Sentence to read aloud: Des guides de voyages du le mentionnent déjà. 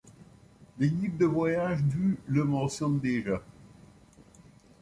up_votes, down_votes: 2, 0